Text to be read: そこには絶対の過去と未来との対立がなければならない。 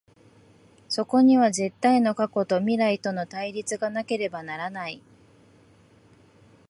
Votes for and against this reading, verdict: 4, 1, accepted